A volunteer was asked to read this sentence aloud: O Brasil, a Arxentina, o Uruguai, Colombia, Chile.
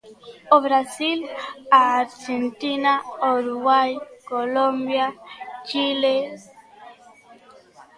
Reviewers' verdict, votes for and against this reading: accepted, 3, 1